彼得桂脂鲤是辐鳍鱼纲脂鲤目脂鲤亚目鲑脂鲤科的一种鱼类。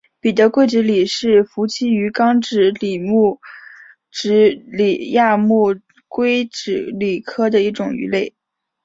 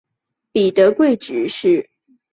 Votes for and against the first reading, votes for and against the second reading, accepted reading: 8, 0, 1, 2, first